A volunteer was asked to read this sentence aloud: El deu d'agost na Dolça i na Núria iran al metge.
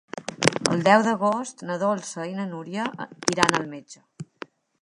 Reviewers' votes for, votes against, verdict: 3, 0, accepted